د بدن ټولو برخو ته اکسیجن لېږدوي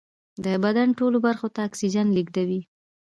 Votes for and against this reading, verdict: 1, 2, rejected